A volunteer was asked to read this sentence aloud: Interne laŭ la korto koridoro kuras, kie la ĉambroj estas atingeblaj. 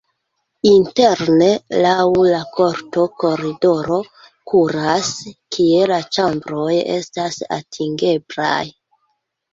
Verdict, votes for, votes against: rejected, 0, 2